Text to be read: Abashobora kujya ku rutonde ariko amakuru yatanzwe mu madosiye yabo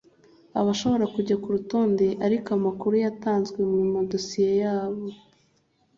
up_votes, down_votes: 2, 0